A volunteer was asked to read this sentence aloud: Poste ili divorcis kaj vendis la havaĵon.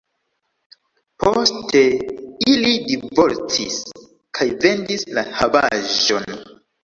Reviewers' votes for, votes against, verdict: 1, 2, rejected